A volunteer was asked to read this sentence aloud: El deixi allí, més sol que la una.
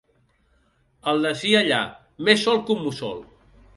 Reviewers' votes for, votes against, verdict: 0, 2, rejected